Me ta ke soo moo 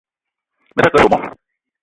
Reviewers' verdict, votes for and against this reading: rejected, 1, 2